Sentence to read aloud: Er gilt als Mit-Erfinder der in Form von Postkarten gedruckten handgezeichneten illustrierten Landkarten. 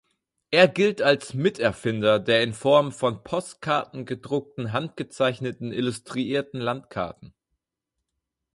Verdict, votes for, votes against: rejected, 0, 4